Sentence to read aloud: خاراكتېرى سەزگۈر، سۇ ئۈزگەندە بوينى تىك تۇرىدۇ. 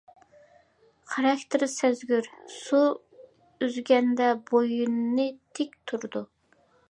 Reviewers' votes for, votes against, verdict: 2, 1, accepted